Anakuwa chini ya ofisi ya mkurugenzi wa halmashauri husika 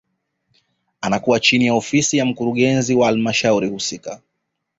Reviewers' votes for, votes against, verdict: 2, 0, accepted